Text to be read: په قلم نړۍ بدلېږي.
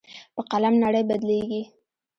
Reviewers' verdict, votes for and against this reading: rejected, 1, 2